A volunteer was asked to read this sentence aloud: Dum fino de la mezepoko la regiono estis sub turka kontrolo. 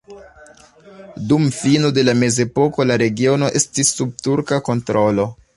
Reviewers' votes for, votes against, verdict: 2, 1, accepted